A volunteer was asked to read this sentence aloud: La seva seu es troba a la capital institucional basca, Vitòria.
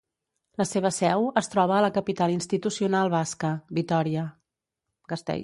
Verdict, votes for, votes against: rejected, 0, 2